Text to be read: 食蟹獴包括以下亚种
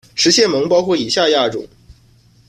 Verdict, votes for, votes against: accepted, 2, 0